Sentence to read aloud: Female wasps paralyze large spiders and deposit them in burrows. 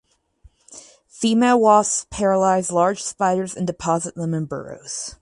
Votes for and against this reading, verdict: 0, 2, rejected